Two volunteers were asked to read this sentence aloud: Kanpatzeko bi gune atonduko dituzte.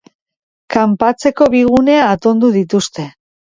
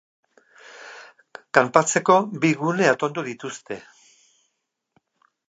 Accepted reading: first